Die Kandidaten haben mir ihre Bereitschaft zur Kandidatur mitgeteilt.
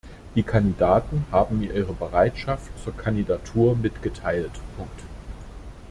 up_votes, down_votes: 2, 1